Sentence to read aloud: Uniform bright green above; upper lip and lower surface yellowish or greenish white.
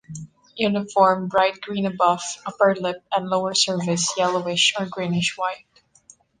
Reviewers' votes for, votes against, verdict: 2, 1, accepted